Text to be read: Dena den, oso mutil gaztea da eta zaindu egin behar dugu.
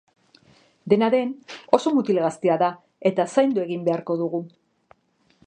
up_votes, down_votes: 0, 4